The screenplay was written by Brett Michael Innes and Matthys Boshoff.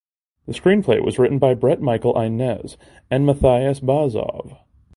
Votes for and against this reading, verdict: 1, 2, rejected